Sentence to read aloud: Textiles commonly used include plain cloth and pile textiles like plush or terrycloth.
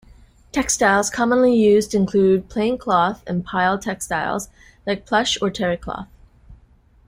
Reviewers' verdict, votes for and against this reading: accepted, 2, 0